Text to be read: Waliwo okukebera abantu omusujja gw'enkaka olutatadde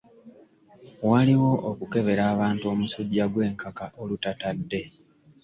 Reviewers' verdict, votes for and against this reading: accepted, 2, 0